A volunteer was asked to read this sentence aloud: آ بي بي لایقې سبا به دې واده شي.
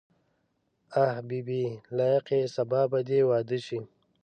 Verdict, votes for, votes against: rejected, 0, 2